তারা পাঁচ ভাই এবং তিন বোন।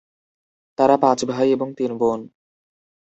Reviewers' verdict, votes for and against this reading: accepted, 6, 0